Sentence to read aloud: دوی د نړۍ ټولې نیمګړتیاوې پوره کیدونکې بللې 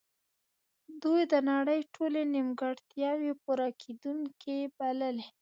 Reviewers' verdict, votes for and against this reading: accepted, 2, 0